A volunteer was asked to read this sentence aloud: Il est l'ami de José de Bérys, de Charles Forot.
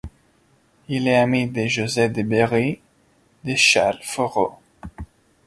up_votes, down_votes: 0, 2